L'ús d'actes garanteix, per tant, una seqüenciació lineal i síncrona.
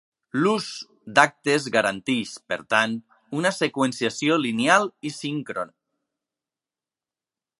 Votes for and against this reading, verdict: 2, 0, accepted